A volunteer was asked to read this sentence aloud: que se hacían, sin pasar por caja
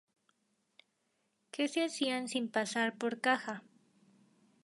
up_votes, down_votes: 4, 0